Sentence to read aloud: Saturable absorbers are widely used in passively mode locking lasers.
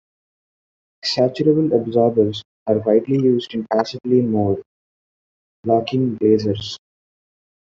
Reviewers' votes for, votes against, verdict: 2, 0, accepted